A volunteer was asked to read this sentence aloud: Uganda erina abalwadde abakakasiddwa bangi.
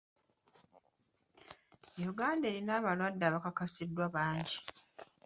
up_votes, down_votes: 0, 2